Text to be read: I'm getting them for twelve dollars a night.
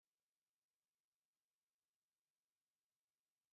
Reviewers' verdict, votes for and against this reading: rejected, 0, 2